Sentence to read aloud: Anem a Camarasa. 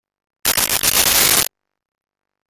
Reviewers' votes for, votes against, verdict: 0, 2, rejected